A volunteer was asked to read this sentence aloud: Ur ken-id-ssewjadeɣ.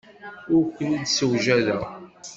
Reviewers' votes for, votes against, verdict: 2, 0, accepted